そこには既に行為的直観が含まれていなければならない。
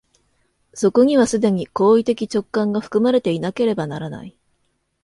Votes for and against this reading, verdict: 2, 0, accepted